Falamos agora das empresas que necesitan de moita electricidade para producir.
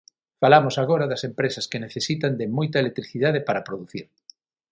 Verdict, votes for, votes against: accepted, 9, 0